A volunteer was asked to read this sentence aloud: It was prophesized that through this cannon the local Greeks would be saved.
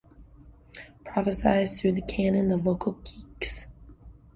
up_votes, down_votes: 1, 2